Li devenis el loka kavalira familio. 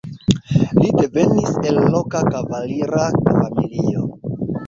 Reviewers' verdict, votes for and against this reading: accepted, 2, 0